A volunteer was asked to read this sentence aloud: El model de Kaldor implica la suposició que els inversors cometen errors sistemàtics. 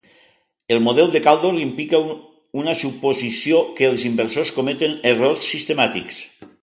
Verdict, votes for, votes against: rejected, 0, 3